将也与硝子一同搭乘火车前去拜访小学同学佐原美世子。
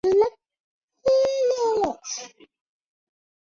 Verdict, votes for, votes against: rejected, 0, 4